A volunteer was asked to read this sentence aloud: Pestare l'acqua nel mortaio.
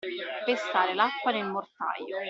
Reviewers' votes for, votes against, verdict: 2, 0, accepted